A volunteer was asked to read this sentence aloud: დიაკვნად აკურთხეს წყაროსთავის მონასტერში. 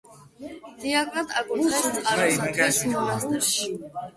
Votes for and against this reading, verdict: 0, 2, rejected